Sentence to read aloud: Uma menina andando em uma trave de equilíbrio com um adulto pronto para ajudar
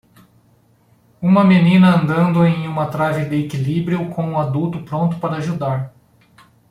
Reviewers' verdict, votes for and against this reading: accepted, 2, 0